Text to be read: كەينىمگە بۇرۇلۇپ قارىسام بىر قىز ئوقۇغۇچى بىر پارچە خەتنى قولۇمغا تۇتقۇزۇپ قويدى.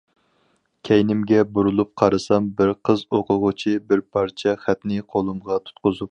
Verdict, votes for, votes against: rejected, 0, 4